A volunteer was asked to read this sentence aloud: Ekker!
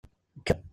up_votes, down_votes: 0, 2